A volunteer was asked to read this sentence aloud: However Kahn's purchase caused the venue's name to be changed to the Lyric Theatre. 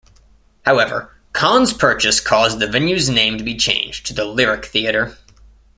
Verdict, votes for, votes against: accepted, 2, 0